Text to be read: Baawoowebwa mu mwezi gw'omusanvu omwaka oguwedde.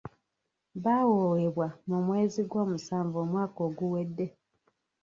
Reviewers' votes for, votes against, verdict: 1, 2, rejected